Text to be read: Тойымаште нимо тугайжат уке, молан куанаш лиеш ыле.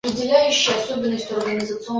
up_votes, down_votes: 0, 2